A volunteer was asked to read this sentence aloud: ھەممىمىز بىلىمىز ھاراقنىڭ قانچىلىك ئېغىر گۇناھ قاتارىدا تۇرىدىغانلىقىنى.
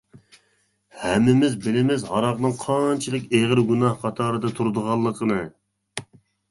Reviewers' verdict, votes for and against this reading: accepted, 2, 0